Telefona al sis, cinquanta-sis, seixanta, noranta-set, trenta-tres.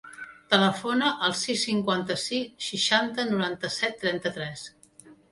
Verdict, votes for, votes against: accepted, 2, 0